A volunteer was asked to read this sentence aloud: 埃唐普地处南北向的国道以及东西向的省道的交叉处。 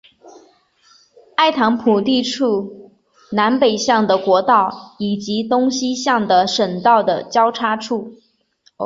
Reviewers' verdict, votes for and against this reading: rejected, 1, 2